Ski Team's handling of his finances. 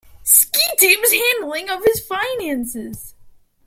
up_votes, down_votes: 2, 0